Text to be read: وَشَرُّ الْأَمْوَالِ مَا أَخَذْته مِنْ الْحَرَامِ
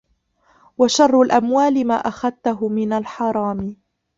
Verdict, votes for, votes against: rejected, 0, 2